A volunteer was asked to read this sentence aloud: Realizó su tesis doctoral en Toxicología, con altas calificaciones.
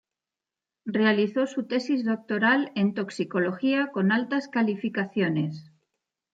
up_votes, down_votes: 1, 2